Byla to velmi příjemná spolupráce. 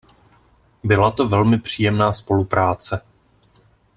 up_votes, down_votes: 2, 0